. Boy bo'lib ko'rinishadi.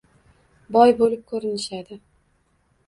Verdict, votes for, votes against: accepted, 2, 0